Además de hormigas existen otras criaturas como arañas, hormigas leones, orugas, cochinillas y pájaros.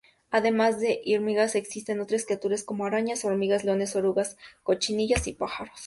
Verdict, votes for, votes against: accepted, 2, 0